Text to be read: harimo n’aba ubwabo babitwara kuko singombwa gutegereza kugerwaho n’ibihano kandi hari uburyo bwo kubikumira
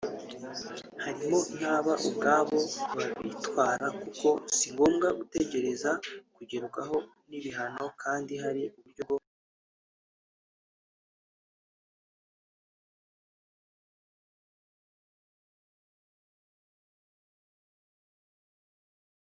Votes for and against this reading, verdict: 0, 2, rejected